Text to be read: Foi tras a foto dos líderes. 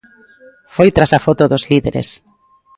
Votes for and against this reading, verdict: 2, 0, accepted